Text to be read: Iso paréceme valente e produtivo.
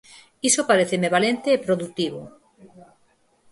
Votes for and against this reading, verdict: 2, 4, rejected